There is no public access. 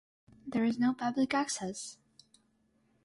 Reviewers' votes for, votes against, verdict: 6, 0, accepted